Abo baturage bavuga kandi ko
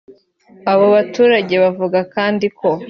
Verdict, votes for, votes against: accepted, 2, 1